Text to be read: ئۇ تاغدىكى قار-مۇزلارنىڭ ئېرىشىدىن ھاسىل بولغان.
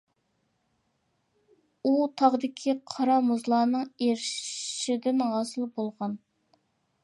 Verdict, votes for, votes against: accepted, 2, 1